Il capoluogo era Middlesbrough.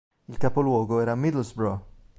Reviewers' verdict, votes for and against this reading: rejected, 1, 2